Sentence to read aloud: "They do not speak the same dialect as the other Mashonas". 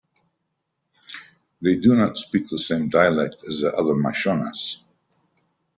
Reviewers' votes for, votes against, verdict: 2, 0, accepted